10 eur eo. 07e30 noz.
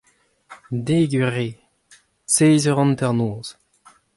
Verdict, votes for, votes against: rejected, 0, 2